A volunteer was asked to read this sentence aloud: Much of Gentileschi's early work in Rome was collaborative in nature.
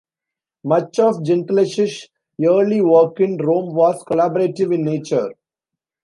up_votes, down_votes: 0, 2